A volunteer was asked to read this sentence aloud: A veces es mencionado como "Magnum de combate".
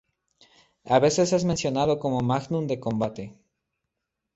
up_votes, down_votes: 2, 0